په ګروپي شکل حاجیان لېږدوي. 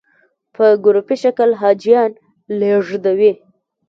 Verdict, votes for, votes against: rejected, 1, 2